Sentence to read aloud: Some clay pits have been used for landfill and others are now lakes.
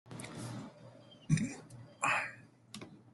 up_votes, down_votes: 0, 2